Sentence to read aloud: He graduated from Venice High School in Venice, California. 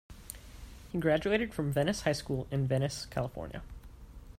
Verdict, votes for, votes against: accepted, 2, 0